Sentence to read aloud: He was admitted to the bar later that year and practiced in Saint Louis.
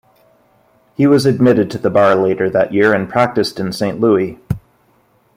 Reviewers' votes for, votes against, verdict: 1, 2, rejected